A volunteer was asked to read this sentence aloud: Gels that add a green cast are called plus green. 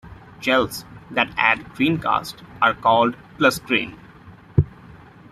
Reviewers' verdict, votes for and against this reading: rejected, 1, 2